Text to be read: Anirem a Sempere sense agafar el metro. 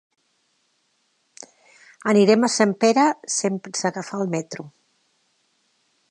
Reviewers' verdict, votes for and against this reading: accepted, 2, 1